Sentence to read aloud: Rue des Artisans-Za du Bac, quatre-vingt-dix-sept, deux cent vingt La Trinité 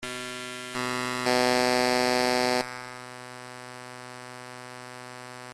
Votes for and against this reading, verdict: 0, 2, rejected